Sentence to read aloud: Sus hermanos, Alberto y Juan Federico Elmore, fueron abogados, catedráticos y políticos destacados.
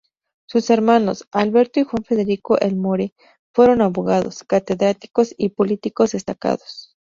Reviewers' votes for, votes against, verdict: 2, 0, accepted